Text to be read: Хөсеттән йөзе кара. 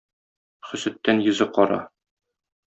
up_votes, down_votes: 2, 0